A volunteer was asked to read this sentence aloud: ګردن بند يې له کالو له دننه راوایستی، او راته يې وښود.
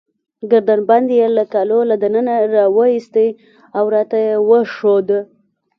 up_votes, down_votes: 2, 1